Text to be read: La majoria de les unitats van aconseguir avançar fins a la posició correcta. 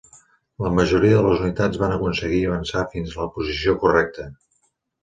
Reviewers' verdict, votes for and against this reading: accepted, 2, 1